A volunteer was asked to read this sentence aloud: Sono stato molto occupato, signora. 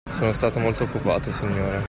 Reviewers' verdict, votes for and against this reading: accepted, 2, 1